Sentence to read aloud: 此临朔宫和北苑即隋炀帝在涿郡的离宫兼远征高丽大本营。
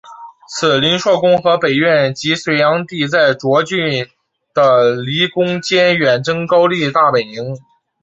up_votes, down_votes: 2, 0